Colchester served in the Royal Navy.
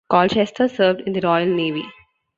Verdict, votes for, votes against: accepted, 2, 0